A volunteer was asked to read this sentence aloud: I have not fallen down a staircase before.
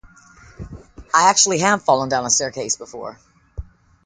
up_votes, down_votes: 1, 2